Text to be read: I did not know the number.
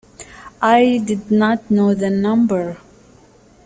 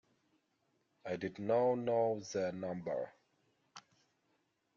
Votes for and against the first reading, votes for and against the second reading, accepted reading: 2, 0, 0, 2, first